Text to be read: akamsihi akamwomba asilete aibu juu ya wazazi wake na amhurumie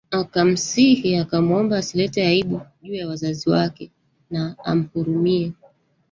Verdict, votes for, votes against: rejected, 1, 2